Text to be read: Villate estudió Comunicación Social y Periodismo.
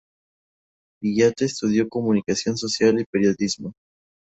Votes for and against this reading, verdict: 2, 0, accepted